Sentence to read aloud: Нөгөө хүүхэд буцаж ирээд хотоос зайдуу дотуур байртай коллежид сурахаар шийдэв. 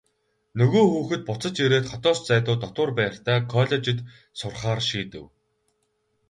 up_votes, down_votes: 0, 2